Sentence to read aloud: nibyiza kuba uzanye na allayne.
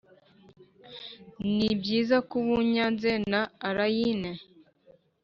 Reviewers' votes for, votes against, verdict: 1, 2, rejected